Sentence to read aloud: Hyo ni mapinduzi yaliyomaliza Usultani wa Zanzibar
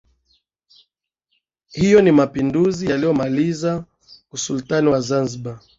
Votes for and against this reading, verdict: 13, 1, accepted